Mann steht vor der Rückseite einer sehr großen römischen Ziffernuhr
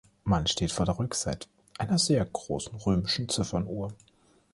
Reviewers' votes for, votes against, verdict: 1, 2, rejected